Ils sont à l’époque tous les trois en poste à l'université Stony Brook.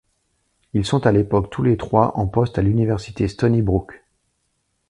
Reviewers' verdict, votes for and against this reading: accepted, 2, 0